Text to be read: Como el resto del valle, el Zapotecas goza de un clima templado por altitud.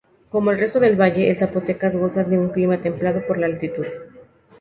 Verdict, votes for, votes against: rejected, 0, 2